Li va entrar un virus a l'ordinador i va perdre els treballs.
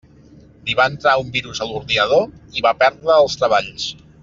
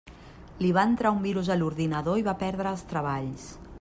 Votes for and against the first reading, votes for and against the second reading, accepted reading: 0, 2, 3, 0, second